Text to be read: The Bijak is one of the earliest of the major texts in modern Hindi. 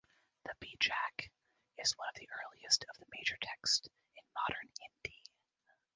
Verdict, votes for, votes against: rejected, 0, 2